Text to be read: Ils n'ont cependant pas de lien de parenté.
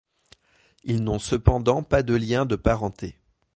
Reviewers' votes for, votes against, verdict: 2, 0, accepted